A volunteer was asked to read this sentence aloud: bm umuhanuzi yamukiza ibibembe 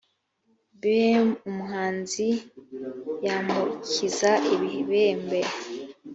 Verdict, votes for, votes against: rejected, 1, 2